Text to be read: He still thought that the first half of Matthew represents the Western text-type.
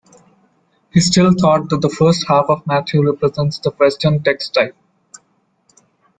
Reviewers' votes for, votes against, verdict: 2, 0, accepted